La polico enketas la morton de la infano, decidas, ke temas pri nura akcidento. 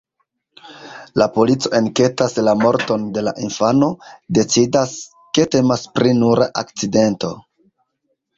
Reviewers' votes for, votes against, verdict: 1, 2, rejected